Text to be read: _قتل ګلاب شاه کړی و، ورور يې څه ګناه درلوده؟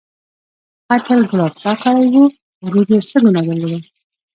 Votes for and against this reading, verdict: 0, 2, rejected